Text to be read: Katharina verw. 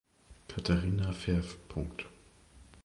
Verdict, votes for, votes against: rejected, 0, 2